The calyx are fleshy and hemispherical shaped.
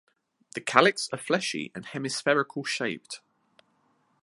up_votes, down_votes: 3, 0